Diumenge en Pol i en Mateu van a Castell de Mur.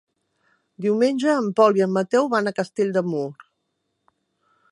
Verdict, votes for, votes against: accepted, 3, 0